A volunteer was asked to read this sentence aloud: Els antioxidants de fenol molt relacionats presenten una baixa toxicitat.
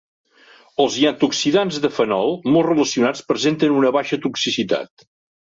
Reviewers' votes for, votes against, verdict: 0, 2, rejected